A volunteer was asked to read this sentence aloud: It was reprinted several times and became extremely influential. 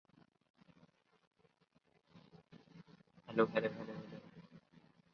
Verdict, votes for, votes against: rejected, 0, 2